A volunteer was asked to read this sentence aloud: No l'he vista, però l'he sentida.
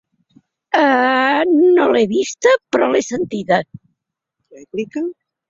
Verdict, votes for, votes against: rejected, 2, 3